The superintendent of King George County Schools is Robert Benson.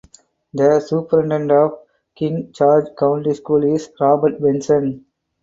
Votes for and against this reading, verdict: 2, 4, rejected